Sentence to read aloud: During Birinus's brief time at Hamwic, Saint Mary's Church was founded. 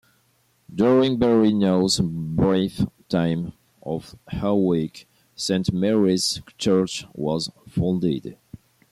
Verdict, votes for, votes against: accepted, 2, 1